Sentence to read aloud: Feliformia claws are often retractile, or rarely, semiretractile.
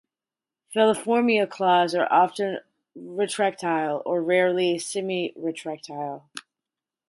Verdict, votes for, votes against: accepted, 4, 0